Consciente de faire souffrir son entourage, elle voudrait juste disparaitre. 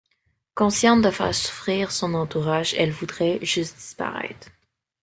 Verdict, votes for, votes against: rejected, 0, 2